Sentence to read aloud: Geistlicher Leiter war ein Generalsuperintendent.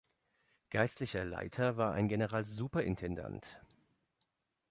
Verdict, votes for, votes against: rejected, 0, 2